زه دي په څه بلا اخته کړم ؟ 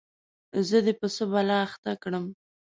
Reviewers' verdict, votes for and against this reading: accepted, 2, 0